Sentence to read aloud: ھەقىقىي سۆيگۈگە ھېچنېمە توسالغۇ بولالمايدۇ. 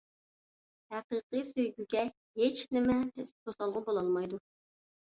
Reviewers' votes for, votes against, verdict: 1, 2, rejected